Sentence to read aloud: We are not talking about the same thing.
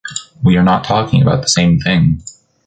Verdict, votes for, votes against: accepted, 3, 0